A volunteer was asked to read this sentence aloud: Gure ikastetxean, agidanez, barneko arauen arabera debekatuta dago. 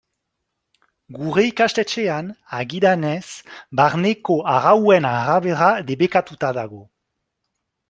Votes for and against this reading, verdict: 4, 0, accepted